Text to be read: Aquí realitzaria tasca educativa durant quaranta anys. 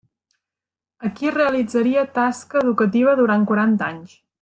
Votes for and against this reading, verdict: 2, 0, accepted